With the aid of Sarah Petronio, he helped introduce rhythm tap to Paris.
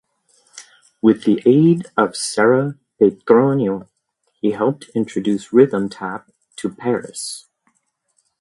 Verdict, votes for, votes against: accepted, 2, 0